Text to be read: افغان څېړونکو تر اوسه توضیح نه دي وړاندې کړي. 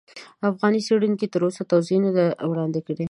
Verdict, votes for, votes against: accepted, 2, 1